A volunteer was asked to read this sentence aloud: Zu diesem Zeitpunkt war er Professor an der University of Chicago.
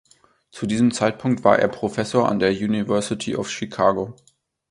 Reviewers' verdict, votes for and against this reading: accepted, 2, 0